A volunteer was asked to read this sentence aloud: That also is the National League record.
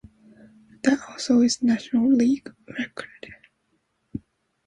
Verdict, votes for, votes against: rejected, 1, 2